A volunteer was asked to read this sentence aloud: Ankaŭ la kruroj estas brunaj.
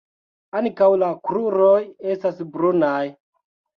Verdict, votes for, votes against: rejected, 1, 2